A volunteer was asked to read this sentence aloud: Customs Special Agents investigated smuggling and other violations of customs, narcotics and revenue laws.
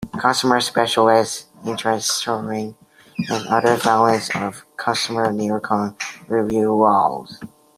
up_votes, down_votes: 0, 2